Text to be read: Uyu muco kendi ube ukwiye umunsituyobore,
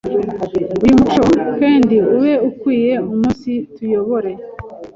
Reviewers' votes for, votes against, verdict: 1, 2, rejected